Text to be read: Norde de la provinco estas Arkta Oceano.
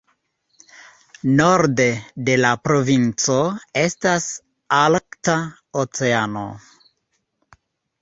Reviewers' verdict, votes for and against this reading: rejected, 1, 2